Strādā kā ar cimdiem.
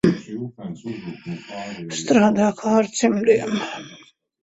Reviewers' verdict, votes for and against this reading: rejected, 1, 2